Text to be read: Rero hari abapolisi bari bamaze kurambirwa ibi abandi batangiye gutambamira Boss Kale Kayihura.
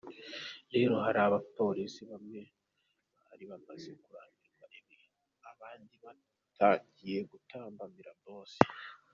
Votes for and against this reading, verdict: 1, 2, rejected